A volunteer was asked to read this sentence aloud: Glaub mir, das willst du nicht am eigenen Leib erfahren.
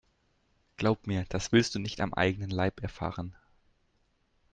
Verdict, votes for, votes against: accepted, 2, 0